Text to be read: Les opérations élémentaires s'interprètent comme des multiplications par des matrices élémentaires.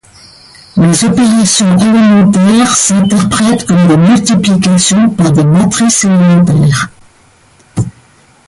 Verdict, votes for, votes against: rejected, 1, 2